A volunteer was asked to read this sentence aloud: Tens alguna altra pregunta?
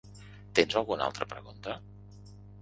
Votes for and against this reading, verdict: 4, 0, accepted